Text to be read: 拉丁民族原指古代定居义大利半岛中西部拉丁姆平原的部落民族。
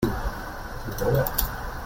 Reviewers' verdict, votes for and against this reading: rejected, 0, 2